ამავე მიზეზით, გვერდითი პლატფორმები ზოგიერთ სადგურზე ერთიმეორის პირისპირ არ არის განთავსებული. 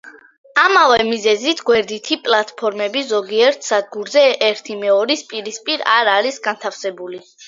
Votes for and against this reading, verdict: 3, 0, accepted